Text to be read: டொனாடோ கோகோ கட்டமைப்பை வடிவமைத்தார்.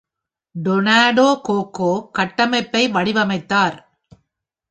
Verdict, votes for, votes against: accepted, 2, 0